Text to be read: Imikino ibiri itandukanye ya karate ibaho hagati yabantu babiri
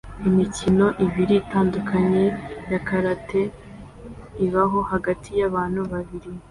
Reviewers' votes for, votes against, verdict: 2, 0, accepted